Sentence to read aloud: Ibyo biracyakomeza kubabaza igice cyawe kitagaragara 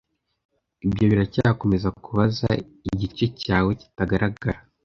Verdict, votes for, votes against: rejected, 0, 2